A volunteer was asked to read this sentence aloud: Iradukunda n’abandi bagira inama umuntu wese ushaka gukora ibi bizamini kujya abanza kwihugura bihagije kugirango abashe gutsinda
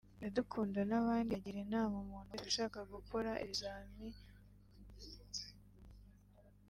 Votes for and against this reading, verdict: 0, 3, rejected